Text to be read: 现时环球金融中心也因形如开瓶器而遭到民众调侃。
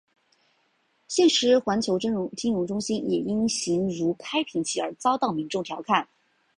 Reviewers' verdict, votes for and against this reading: rejected, 2, 3